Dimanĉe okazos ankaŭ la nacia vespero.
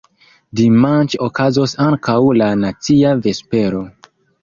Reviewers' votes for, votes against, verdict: 2, 1, accepted